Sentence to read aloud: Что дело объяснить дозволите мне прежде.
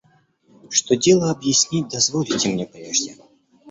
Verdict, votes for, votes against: accepted, 2, 0